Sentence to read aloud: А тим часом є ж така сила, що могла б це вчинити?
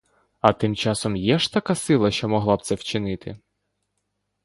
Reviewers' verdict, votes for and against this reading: accepted, 2, 0